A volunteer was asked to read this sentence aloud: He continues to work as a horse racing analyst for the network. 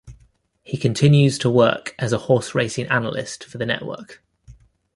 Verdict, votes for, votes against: accepted, 2, 0